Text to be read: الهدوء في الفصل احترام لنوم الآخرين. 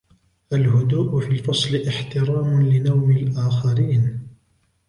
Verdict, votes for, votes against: accepted, 2, 1